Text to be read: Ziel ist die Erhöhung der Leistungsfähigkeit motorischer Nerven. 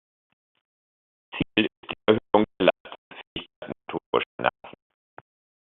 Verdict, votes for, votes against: rejected, 1, 2